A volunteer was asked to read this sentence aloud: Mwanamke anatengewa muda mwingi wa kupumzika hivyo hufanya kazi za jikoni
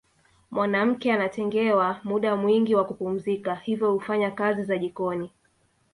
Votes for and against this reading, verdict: 2, 0, accepted